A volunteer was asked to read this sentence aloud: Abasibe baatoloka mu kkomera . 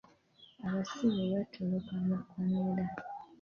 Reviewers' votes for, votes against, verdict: 1, 2, rejected